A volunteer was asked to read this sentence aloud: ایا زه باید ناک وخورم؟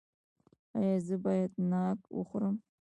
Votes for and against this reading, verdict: 0, 2, rejected